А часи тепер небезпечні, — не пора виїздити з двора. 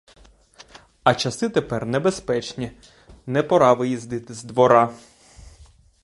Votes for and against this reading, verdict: 2, 0, accepted